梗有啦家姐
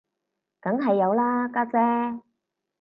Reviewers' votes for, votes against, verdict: 0, 4, rejected